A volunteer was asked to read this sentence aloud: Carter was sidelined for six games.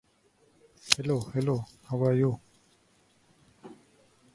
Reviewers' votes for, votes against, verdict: 0, 2, rejected